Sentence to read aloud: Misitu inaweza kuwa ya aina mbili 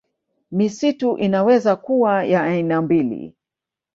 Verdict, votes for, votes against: accepted, 5, 0